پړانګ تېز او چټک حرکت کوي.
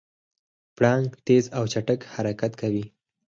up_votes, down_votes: 0, 4